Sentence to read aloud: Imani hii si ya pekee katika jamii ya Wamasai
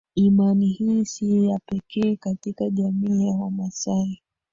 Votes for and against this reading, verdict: 1, 2, rejected